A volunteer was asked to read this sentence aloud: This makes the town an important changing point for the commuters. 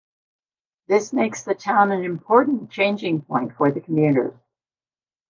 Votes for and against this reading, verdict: 1, 2, rejected